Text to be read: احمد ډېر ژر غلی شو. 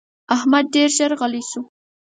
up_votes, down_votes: 4, 0